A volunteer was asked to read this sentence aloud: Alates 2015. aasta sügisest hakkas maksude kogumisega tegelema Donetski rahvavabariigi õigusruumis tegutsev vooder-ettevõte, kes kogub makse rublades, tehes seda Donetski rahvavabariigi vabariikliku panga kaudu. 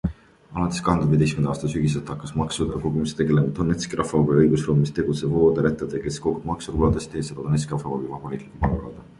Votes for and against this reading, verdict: 0, 2, rejected